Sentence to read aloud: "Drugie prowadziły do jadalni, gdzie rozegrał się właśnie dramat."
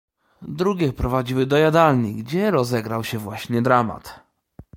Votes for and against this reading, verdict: 2, 0, accepted